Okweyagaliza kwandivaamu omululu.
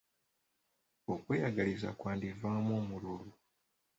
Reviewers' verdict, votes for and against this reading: accepted, 3, 1